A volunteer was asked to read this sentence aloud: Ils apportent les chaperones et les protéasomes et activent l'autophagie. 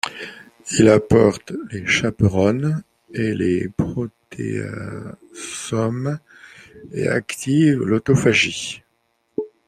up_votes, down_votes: 1, 2